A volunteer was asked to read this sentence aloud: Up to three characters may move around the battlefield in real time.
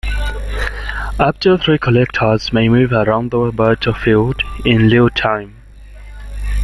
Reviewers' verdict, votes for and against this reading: accepted, 2, 1